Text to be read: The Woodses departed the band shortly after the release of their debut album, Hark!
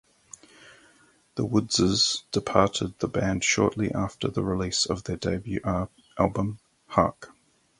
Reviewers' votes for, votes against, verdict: 0, 4, rejected